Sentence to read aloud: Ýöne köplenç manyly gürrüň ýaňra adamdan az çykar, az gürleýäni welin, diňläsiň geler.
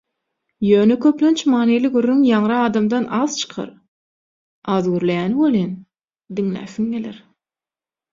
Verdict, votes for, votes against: accepted, 6, 0